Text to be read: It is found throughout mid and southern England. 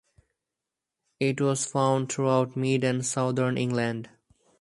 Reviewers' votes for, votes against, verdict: 4, 0, accepted